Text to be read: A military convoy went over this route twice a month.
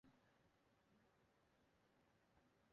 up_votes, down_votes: 0, 2